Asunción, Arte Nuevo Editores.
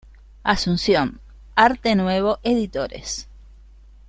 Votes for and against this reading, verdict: 3, 0, accepted